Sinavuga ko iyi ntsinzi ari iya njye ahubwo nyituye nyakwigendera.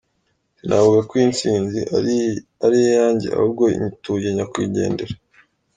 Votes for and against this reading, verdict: 0, 2, rejected